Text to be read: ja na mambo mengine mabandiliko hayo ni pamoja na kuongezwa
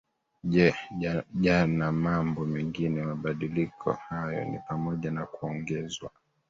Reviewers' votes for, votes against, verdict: 0, 2, rejected